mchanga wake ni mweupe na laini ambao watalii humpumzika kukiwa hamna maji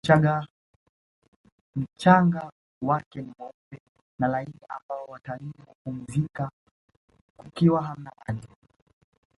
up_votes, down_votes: 1, 2